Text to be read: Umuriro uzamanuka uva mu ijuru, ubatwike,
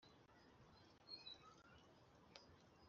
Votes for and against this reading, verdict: 1, 2, rejected